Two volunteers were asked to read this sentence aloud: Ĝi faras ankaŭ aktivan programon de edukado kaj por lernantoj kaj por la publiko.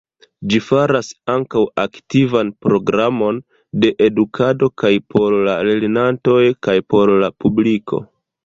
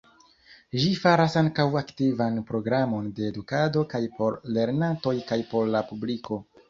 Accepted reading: second